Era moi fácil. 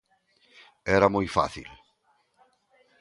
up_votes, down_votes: 2, 0